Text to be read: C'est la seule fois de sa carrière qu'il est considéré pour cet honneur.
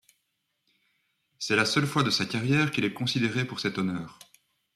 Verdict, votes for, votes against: accepted, 2, 0